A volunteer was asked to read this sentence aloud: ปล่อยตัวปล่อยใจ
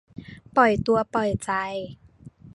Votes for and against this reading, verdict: 2, 0, accepted